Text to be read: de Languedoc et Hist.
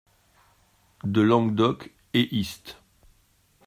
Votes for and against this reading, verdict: 2, 0, accepted